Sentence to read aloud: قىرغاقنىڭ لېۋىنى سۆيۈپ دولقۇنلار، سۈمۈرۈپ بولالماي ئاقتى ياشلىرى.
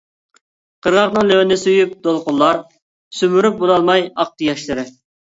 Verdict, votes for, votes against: accepted, 2, 0